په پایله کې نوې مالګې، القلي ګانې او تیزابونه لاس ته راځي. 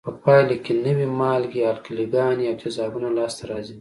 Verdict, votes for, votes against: accepted, 2, 0